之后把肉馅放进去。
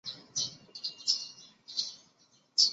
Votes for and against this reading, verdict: 1, 3, rejected